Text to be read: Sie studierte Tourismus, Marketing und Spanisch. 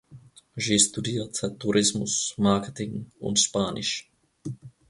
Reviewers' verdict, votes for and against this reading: rejected, 0, 2